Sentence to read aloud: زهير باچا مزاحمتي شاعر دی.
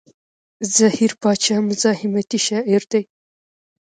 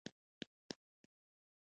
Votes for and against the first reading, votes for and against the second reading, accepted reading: 2, 0, 1, 2, first